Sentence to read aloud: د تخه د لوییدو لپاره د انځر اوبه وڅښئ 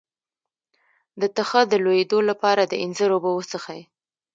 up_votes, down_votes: 1, 2